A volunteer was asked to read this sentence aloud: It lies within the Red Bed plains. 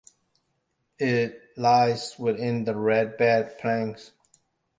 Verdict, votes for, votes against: accepted, 2, 1